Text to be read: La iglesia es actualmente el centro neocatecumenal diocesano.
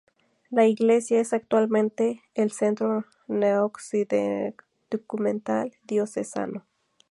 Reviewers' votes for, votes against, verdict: 0, 2, rejected